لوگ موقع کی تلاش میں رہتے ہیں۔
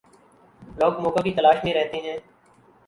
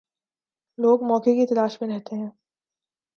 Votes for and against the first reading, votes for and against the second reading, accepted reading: 1, 2, 5, 0, second